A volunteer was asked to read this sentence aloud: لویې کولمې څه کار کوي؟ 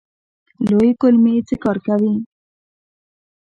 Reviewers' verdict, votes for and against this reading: accepted, 2, 0